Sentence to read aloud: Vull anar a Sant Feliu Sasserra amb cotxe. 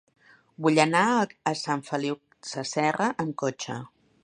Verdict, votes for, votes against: rejected, 1, 2